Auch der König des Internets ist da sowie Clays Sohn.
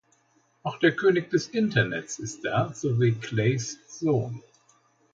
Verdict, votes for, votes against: accepted, 2, 0